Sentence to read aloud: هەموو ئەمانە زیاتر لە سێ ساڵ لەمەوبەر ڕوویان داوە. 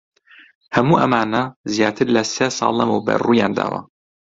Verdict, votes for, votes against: accepted, 2, 0